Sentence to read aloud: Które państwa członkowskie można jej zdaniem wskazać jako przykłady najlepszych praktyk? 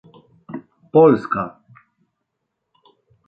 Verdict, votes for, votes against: rejected, 0, 2